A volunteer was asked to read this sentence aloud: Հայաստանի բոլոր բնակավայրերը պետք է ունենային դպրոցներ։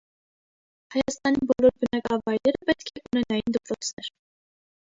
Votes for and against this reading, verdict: 1, 2, rejected